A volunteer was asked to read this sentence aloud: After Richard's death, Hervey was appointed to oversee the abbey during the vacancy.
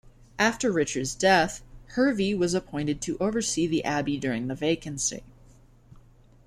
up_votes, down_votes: 2, 0